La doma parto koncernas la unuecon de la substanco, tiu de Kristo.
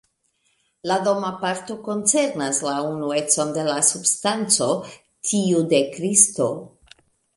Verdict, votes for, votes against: accepted, 2, 0